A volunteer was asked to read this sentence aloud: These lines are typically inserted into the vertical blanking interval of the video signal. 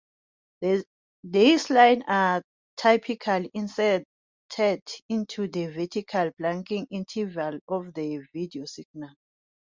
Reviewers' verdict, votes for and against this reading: rejected, 0, 2